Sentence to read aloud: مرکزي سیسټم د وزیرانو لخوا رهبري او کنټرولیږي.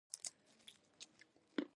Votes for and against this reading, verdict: 1, 2, rejected